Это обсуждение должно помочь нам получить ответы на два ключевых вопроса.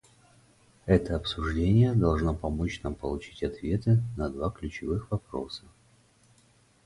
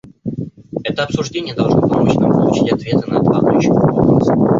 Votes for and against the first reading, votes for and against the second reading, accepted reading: 4, 0, 0, 2, first